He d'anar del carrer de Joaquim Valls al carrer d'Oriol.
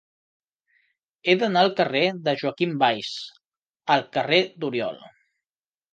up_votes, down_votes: 3, 0